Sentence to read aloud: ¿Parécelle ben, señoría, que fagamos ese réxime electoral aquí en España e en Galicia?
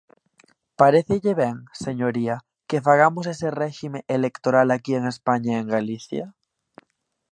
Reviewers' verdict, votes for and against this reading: accepted, 2, 0